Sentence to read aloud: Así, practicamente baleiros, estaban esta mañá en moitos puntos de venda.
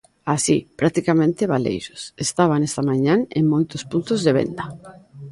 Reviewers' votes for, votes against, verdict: 0, 2, rejected